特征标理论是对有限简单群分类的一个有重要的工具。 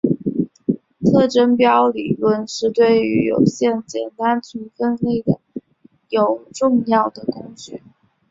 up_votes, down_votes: 2, 0